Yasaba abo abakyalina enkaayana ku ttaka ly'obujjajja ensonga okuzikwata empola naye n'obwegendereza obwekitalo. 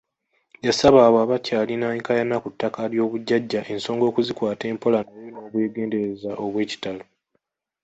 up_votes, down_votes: 0, 2